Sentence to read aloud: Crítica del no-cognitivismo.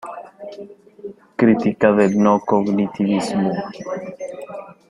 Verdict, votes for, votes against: accepted, 2, 0